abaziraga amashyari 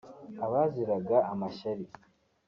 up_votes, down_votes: 3, 0